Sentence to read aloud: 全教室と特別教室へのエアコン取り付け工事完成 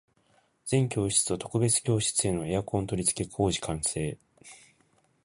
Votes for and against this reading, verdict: 2, 1, accepted